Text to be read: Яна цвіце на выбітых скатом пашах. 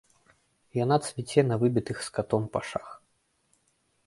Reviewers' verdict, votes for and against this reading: accepted, 2, 0